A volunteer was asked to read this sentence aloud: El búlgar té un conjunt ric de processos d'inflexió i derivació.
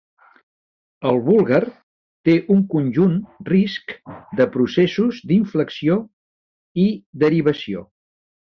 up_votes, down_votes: 1, 3